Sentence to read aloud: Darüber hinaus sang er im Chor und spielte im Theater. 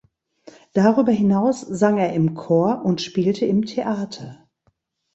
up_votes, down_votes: 2, 0